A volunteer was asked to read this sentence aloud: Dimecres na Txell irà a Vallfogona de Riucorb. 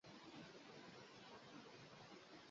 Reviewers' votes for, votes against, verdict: 0, 2, rejected